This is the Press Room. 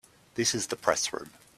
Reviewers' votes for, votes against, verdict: 2, 0, accepted